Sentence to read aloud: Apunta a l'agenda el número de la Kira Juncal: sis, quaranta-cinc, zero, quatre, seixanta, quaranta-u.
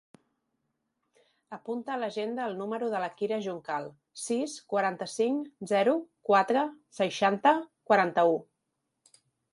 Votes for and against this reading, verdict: 3, 1, accepted